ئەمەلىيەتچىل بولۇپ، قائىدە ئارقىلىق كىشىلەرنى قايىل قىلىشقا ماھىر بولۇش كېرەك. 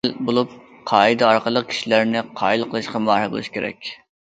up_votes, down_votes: 0, 2